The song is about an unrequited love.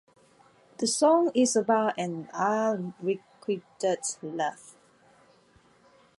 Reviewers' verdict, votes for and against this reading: accepted, 2, 0